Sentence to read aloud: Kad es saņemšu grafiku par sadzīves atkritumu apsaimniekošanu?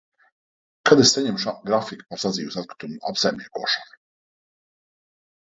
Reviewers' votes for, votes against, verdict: 0, 2, rejected